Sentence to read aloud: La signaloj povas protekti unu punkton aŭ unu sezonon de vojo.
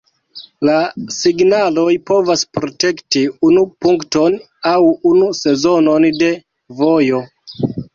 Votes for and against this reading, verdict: 2, 0, accepted